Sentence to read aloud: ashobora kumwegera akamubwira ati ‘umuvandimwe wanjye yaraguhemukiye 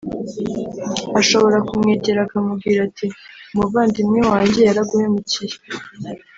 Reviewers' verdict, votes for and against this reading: accepted, 2, 0